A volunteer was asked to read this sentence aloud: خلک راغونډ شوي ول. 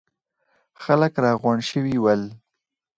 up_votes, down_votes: 4, 0